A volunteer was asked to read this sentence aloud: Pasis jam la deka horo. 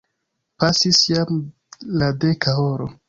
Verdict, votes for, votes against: accepted, 2, 0